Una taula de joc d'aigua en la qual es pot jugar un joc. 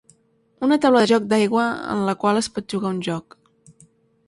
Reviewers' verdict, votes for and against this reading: accepted, 3, 0